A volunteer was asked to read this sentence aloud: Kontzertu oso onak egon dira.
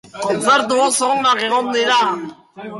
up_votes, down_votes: 0, 2